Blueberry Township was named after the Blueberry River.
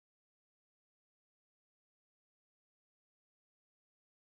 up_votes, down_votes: 0, 2